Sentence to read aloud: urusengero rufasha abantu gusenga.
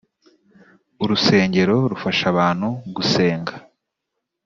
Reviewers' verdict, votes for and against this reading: accepted, 3, 0